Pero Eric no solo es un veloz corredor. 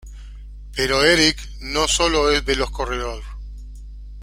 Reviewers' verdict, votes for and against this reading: rejected, 0, 2